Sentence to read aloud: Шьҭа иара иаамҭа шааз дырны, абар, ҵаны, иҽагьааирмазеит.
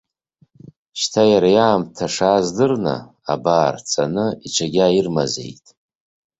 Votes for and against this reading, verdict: 2, 1, accepted